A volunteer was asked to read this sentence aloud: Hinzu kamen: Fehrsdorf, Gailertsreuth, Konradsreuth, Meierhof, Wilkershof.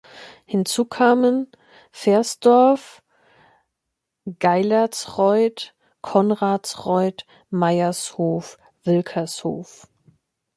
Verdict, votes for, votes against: rejected, 0, 2